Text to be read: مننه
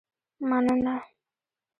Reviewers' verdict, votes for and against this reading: rejected, 1, 2